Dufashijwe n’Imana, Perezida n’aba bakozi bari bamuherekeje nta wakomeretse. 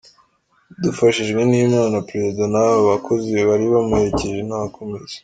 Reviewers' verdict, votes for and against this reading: accepted, 2, 1